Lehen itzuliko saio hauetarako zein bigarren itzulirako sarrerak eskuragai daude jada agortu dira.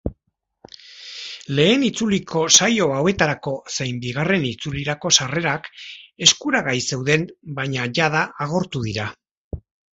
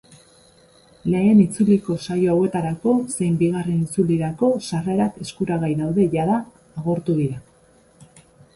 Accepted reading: second